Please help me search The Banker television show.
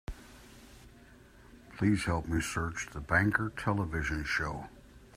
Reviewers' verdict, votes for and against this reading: accepted, 2, 0